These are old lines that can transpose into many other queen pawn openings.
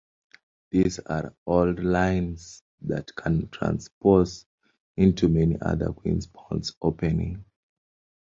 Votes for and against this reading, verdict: 0, 2, rejected